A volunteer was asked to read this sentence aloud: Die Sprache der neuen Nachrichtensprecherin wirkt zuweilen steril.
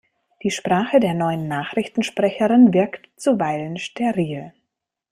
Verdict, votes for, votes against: accepted, 2, 0